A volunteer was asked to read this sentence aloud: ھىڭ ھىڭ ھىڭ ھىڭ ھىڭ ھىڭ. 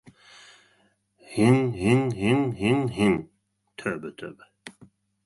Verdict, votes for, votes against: rejected, 0, 2